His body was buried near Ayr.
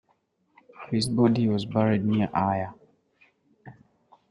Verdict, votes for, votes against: accepted, 2, 0